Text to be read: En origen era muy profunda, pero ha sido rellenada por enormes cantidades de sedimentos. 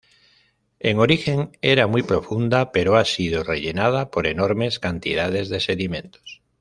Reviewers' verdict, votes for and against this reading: accepted, 2, 0